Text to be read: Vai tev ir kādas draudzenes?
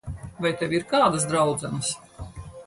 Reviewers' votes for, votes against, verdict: 4, 2, accepted